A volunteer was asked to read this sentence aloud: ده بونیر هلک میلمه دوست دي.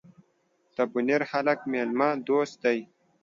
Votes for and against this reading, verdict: 2, 0, accepted